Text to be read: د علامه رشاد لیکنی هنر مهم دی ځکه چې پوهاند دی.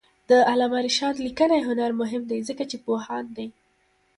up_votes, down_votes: 2, 0